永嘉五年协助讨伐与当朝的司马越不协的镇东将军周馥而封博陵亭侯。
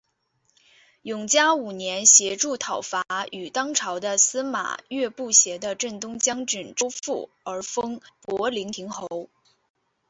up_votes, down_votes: 2, 0